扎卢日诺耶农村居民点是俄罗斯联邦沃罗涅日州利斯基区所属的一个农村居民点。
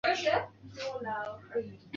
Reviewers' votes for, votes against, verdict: 1, 2, rejected